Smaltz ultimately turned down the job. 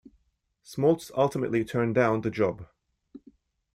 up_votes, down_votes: 2, 0